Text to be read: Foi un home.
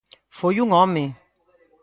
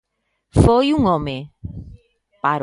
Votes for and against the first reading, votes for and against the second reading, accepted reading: 2, 0, 0, 2, first